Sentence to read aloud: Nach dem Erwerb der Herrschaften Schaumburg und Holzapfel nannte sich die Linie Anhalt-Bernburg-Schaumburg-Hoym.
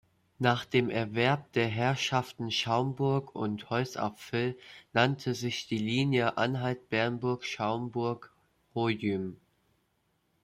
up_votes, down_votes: 0, 2